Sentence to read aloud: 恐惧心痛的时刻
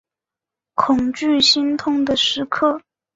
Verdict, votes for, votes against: accepted, 2, 1